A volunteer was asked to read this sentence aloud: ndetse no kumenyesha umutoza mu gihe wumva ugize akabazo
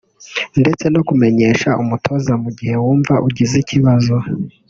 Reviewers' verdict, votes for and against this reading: rejected, 1, 2